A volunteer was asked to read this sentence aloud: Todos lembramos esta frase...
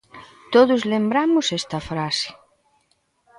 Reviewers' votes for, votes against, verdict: 1, 2, rejected